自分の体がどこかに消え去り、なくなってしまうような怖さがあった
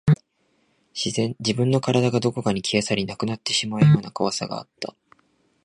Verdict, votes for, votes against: rejected, 2, 2